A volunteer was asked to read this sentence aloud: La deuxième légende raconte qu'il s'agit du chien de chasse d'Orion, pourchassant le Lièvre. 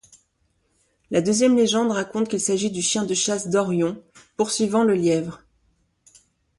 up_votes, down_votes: 0, 2